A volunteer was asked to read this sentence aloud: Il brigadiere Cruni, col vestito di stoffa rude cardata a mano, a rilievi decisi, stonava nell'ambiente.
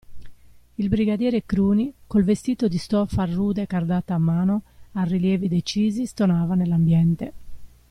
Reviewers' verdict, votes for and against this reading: accepted, 2, 0